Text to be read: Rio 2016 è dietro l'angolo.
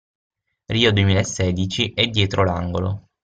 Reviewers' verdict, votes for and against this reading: rejected, 0, 2